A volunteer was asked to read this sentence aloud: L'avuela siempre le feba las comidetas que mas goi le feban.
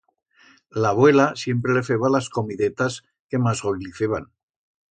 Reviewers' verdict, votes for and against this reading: accepted, 2, 0